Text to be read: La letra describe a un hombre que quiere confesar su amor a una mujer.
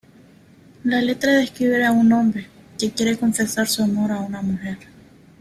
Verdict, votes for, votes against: accepted, 2, 1